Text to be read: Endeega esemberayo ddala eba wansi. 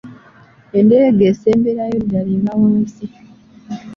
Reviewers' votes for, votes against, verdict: 1, 2, rejected